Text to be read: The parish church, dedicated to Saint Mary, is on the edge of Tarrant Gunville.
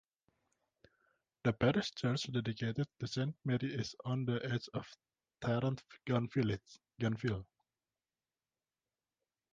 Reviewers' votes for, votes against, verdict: 0, 2, rejected